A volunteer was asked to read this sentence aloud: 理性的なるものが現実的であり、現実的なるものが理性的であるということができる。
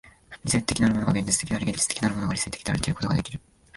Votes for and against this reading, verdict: 1, 2, rejected